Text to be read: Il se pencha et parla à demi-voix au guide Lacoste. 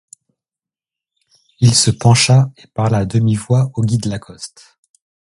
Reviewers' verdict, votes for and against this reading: accepted, 2, 0